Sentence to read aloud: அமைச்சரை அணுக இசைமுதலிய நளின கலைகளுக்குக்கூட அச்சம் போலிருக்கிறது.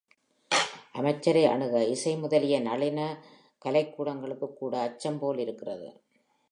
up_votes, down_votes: 3, 0